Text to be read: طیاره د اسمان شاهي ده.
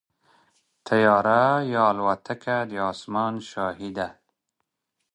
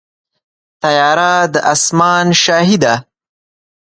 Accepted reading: second